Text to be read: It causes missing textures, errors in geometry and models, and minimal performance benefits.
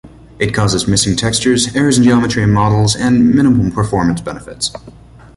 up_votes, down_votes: 2, 0